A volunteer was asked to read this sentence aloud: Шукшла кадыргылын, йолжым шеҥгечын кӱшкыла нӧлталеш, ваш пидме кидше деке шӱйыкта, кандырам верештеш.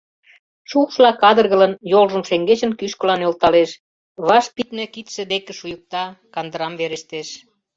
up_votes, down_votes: 0, 2